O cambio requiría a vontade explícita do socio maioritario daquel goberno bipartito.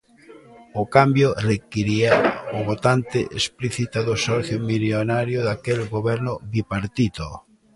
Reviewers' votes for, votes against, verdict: 0, 2, rejected